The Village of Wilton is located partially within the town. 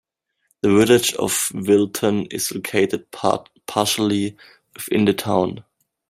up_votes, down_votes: 0, 2